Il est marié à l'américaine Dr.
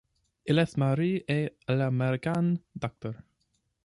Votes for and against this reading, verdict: 0, 2, rejected